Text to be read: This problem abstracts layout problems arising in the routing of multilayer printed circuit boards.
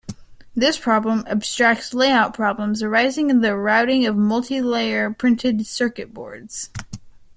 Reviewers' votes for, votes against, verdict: 1, 2, rejected